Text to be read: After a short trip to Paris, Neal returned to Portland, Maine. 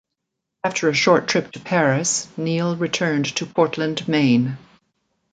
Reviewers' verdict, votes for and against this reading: accepted, 2, 0